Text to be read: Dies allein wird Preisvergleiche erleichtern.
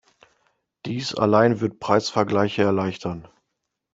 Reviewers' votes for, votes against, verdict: 2, 0, accepted